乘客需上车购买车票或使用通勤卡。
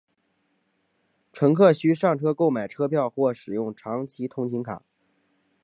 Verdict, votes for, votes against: rejected, 1, 2